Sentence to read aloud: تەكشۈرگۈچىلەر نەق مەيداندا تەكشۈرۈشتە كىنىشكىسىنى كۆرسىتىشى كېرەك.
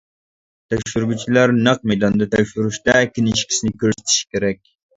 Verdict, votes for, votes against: rejected, 0, 2